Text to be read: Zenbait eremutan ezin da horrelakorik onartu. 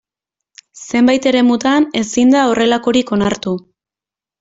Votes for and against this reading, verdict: 2, 0, accepted